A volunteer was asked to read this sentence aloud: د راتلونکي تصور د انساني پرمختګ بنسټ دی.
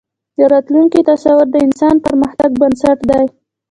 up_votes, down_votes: 0, 2